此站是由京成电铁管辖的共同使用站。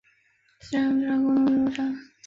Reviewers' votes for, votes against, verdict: 0, 2, rejected